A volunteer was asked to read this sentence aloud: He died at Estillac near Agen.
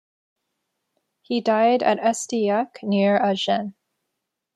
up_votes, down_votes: 2, 0